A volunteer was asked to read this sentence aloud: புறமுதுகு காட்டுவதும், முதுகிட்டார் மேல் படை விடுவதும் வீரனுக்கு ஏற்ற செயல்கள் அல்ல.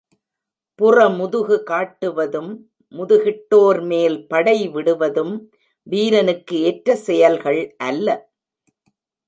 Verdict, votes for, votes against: rejected, 0, 2